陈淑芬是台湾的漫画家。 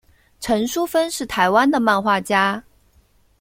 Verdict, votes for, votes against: accepted, 2, 0